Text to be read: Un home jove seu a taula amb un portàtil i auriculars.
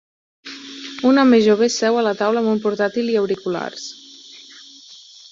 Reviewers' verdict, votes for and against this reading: rejected, 2, 4